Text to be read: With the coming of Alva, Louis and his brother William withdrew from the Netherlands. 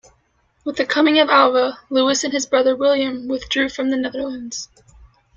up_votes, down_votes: 2, 0